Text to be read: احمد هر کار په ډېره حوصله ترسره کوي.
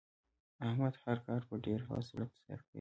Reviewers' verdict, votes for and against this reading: accepted, 2, 0